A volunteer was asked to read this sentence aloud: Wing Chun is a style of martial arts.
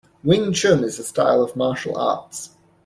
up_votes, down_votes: 2, 0